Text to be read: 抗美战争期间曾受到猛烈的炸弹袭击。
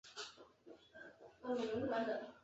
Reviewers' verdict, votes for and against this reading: rejected, 0, 2